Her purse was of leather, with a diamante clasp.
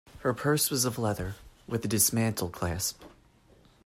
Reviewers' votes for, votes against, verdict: 0, 2, rejected